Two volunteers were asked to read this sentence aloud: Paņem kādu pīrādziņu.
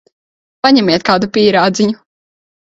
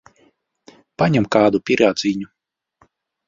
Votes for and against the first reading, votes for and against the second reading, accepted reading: 0, 3, 2, 1, second